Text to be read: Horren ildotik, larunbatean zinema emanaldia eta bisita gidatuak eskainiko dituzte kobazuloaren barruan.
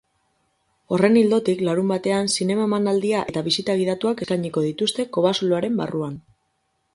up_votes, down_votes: 0, 4